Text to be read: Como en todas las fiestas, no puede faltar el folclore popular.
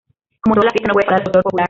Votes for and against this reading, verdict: 0, 2, rejected